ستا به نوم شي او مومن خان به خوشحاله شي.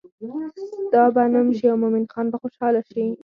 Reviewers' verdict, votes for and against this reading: accepted, 4, 0